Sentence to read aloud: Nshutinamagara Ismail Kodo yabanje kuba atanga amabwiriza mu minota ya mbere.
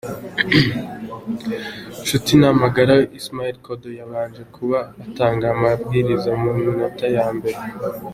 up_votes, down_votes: 2, 0